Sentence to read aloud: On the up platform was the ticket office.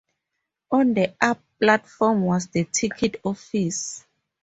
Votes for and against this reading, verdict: 4, 0, accepted